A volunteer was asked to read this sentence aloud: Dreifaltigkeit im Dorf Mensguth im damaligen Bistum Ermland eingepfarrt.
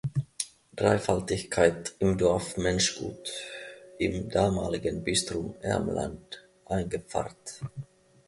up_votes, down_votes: 0, 2